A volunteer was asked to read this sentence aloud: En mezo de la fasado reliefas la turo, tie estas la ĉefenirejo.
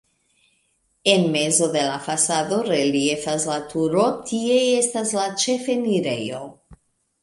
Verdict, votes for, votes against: accepted, 2, 1